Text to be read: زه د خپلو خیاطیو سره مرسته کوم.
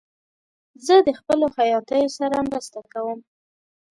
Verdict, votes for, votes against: accepted, 2, 0